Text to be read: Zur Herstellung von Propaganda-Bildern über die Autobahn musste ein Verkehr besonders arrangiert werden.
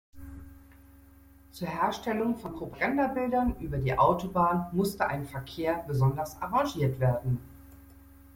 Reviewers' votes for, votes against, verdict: 1, 2, rejected